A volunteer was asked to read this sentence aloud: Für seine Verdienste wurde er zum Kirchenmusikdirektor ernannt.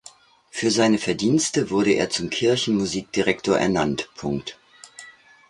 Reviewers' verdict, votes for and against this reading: rejected, 0, 2